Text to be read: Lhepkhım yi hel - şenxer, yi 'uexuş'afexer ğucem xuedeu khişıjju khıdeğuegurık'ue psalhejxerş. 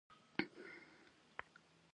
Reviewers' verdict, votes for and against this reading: accepted, 2, 0